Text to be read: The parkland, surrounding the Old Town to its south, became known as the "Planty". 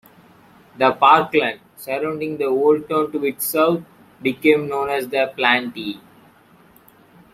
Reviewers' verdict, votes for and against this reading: rejected, 0, 2